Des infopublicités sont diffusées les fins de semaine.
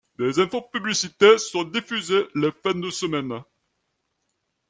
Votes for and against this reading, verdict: 1, 2, rejected